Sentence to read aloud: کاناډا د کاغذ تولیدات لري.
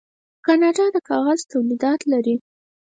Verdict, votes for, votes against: rejected, 2, 4